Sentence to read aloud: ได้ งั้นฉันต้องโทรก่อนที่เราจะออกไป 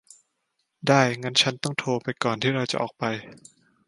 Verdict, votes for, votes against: rejected, 0, 2